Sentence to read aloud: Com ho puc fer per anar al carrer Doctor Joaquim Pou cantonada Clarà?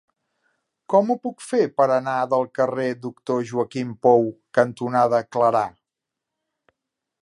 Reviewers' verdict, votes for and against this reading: rejected, 1, 2